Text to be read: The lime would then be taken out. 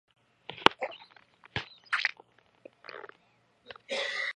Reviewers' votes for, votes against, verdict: 0, 2, rejected